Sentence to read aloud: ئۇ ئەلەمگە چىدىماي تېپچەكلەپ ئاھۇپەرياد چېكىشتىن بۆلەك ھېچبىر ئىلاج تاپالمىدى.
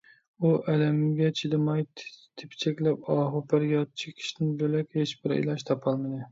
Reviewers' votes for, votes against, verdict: 0, 2, rejected